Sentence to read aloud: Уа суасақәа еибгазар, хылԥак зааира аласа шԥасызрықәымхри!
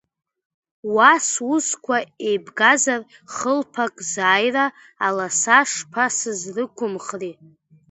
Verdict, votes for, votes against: rejected, 0, 2